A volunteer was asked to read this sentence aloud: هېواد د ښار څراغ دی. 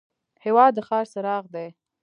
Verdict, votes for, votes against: accepted, 2, 0